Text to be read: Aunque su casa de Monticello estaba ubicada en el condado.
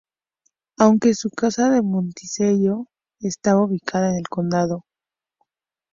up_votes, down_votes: 2, 0